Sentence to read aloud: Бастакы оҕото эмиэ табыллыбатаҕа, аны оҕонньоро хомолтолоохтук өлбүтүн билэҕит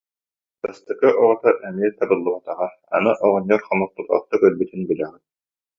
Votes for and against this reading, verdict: 0, 2, rejected